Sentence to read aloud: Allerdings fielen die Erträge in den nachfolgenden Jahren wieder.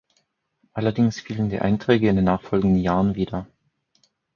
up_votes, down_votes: 0, 4